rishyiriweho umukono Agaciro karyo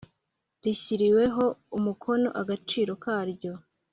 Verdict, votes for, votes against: accepted, 2, 0